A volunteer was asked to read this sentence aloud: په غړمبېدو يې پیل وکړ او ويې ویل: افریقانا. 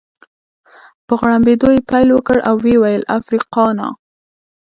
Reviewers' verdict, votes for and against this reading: rejected, 0, 2